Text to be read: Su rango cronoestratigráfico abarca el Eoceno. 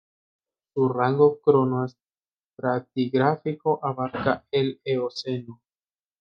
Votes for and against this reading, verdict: 1, 2, rejected